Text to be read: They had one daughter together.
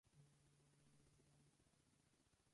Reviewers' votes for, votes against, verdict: 0, 2, rejected